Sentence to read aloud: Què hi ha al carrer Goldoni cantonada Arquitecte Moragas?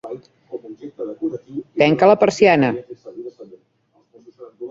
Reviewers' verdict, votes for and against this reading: rejected, 1, 2